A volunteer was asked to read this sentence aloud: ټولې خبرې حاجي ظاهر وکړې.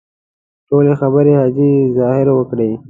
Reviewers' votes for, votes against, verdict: 2, 0, accepted